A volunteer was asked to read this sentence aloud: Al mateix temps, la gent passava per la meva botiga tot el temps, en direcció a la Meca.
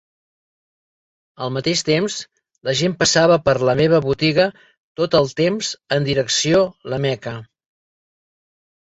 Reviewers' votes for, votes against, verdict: 2, 0, accepted